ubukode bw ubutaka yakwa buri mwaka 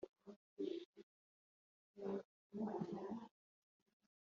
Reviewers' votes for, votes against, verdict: 1, 2, rejected